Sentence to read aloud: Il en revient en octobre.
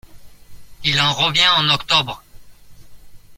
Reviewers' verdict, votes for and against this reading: accepted, 2, 0